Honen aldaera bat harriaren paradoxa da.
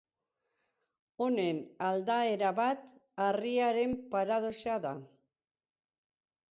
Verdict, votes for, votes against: accepted, 4, 2